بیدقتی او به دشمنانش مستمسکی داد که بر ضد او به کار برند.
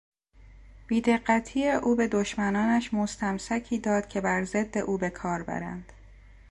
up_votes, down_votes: 2, 0